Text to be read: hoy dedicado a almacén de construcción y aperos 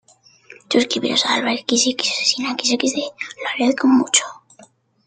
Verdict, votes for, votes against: rejected, 0, 2